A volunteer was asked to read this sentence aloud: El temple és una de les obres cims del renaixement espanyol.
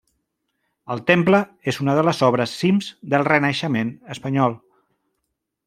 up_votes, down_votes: 3, 0